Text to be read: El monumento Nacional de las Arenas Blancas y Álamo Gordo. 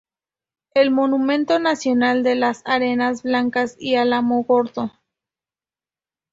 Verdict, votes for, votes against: accepted, 2, 0